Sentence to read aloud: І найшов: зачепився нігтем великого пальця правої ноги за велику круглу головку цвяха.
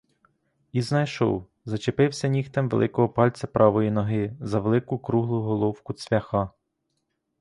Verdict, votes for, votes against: rejected, 0, 2